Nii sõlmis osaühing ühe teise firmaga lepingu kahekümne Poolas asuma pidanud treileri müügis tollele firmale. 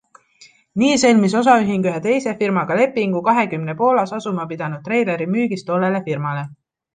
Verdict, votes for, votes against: accepted, 2, 0